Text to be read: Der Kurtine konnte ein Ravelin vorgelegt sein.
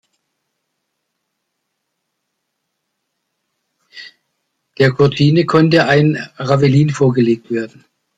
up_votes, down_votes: 0, 2